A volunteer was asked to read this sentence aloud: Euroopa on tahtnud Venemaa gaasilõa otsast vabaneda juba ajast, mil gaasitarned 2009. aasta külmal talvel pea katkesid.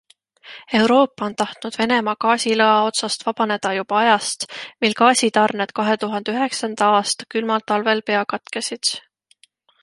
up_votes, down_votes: 0, 2